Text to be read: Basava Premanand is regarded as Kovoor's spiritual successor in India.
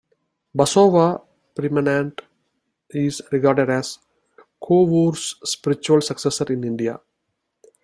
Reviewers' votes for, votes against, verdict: 2, 0, accepted